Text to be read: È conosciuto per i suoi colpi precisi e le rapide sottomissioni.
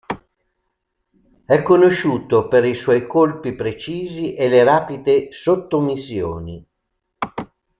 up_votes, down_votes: 2, 0